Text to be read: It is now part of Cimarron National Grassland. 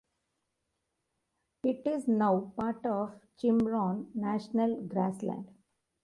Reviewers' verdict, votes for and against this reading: rejected, 1, 2